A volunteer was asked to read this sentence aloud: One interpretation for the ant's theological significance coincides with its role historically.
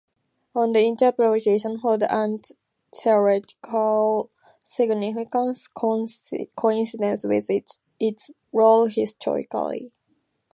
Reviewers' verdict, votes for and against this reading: rejected, 0, 2